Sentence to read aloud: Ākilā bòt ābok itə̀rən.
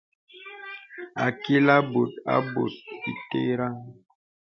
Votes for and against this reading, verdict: 0, 2, rejected